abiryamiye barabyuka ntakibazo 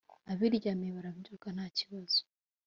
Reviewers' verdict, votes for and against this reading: accepted, 2, 0